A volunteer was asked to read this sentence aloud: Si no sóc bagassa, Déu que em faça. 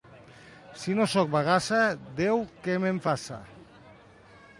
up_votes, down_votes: 0, 2